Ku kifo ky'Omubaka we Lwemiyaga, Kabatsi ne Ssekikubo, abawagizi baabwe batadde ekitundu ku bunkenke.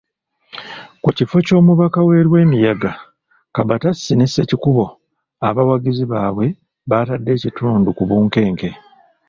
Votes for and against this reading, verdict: 2, 0, accepted